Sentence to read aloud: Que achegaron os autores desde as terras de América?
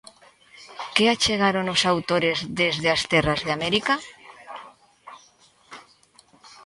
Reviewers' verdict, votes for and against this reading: accepted, 2, 0